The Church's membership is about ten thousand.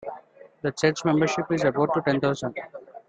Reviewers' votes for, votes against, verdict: 2, 0, accepted